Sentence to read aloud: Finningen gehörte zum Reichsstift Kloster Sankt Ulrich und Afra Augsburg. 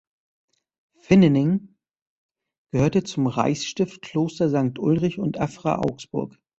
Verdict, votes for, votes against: rejected, 0, 2